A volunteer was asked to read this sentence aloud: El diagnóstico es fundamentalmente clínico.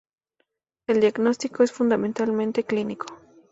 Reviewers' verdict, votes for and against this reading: accepted, 2, 0